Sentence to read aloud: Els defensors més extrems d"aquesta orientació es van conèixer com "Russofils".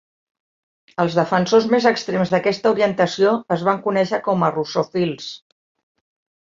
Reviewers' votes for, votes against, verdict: 2, 1, accepted